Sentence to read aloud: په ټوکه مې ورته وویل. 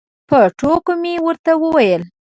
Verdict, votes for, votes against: accepted, 2, 0